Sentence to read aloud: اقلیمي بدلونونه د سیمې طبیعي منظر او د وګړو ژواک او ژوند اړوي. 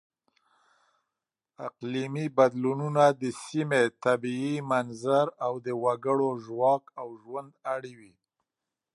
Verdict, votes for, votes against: accepted, 2, 0